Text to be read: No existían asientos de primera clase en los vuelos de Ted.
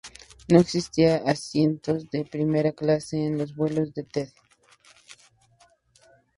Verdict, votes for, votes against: rejected, 0, 2